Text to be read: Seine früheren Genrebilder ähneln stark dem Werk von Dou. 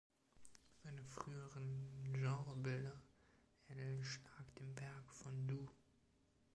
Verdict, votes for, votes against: rejected, 1, 2